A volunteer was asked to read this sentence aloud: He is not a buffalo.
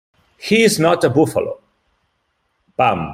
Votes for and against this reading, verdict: 0, 2, rejected